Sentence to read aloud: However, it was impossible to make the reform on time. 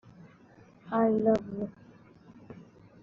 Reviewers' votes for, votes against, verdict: 0, 2, rejected